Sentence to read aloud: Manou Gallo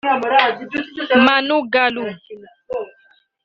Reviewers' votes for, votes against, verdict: 2, 1, accepted